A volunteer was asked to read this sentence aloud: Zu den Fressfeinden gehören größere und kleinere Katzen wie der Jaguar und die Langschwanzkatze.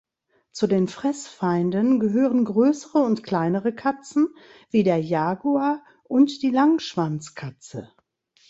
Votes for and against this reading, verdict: 2, 0, accepted